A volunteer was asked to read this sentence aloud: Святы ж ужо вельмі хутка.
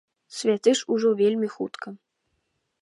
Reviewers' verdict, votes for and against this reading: rejected, 1, 2